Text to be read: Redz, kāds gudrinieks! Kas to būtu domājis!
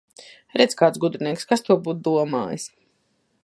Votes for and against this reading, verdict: 1, 2, rejected